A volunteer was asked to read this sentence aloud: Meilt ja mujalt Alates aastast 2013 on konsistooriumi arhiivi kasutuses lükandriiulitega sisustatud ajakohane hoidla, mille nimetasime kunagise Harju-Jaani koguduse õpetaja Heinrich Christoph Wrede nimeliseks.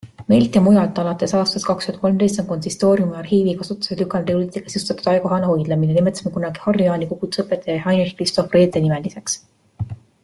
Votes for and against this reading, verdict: 0, 2, rejected